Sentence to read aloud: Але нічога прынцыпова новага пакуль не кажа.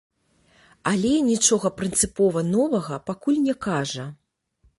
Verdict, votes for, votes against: accepted, 2, 0